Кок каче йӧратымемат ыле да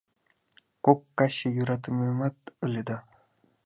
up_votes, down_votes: 2, 0